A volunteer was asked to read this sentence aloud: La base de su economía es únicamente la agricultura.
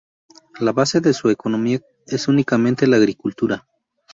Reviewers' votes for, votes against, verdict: 4, 0, accepted